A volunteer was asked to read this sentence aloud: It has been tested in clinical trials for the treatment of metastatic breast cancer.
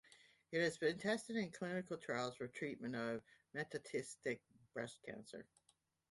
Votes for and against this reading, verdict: 1, 2, rejected